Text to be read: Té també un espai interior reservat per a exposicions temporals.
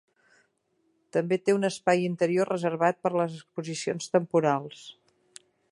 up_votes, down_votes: 0, 2